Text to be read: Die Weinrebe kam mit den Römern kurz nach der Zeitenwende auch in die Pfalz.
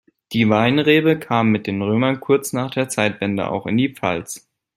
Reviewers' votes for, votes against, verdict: 0, 2, rejected